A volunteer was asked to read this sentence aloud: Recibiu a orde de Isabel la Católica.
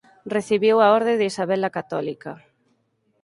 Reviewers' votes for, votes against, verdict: 4, 0, accepted